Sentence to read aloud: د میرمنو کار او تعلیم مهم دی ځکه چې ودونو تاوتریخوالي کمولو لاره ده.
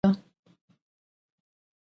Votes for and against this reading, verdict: 1, 2, rejected